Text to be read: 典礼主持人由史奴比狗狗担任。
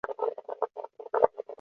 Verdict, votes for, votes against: rejected, 0, 3